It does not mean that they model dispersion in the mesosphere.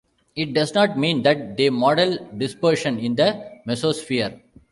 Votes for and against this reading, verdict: 3, 0, accepted